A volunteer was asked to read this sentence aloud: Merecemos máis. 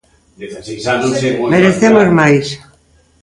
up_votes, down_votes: 0, 2